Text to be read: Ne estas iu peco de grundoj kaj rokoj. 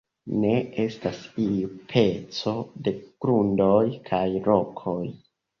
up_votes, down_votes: 2, 1